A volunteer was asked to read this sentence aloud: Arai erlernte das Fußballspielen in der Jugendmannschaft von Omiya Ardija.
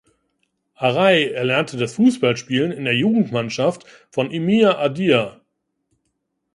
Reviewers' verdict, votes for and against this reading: rejected, 0, 2